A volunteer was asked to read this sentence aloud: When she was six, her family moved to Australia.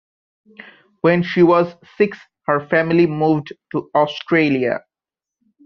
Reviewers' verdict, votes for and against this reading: accepted, 2, 0